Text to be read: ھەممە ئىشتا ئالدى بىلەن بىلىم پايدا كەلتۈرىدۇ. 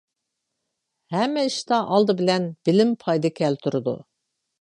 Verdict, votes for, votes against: accepted, 2, 0